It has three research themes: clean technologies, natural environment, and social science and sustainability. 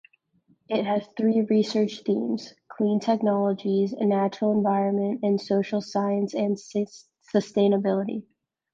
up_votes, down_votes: 0, 2